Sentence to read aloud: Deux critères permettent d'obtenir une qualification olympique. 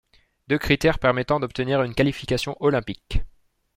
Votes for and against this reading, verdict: 1, 2, rejected